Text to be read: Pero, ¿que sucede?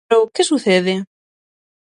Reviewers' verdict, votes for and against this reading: rejected, 0, 6